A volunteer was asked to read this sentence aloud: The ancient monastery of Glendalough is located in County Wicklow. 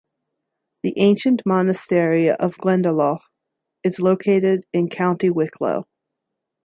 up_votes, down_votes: 2, 0